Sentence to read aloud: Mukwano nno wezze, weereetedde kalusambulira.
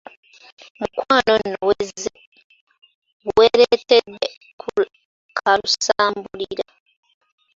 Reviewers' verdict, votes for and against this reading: accepted, 2, 1